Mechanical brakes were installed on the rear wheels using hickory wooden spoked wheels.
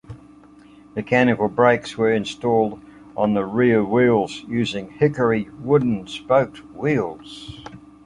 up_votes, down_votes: 2, 0